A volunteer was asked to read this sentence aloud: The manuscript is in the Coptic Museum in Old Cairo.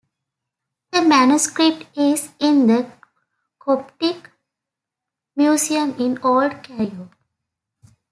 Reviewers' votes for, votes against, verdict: 1, 2, rejected